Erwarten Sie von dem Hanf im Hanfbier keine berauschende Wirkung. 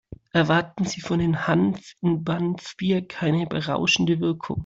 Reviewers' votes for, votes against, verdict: 0, 2, rejected